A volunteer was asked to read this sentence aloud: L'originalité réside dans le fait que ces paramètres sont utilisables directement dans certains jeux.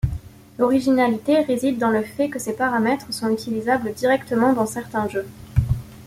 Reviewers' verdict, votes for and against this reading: accepted, 2, 0